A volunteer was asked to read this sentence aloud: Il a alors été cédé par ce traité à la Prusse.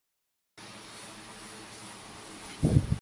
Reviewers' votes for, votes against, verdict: 0, 2, rejected